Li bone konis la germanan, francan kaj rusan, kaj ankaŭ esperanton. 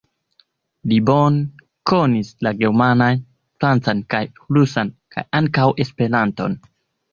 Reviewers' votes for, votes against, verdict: 2, 0, accepted